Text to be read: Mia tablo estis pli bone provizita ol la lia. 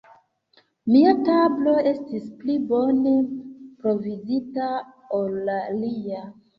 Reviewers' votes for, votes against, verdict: 2, 1, accepted